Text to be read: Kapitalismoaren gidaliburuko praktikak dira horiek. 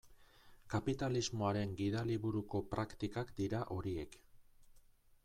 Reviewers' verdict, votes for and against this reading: accepted, 2, 0